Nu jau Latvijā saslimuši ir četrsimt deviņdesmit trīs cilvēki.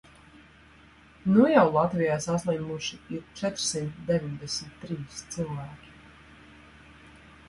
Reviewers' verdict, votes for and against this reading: accepted, 2, 0